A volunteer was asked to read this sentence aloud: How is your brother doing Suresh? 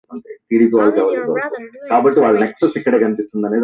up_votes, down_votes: 2, 1